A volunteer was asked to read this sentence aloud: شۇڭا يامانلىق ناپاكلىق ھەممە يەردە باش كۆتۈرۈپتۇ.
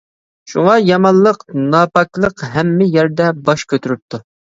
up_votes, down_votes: 2, 0